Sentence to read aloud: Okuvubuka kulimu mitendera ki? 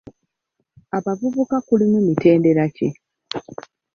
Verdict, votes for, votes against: rejected, 0, 2